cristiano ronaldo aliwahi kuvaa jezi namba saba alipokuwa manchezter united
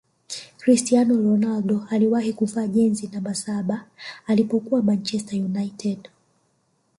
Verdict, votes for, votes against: rejected, 1, 2